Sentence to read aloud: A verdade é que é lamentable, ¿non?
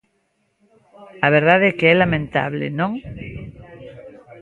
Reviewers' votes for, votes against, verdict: 1, 2, rejected